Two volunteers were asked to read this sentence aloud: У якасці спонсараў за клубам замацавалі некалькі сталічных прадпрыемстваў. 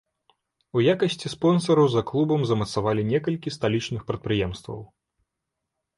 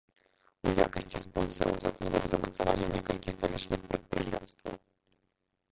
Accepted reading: first